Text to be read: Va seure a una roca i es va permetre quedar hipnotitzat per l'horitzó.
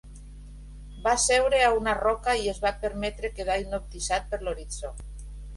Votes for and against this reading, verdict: 1, 2, rejected